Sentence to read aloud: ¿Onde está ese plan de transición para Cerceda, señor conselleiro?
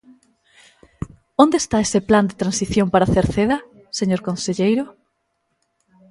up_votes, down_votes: 2, 0